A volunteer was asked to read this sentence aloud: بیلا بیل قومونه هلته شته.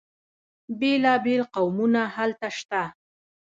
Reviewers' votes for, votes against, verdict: 2, 0, accepted